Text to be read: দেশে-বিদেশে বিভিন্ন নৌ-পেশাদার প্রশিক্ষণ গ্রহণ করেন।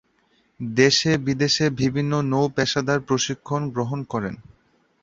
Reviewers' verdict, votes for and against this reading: accepted, 6, 1